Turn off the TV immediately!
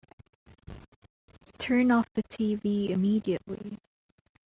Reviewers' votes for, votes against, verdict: 2, 0, accepted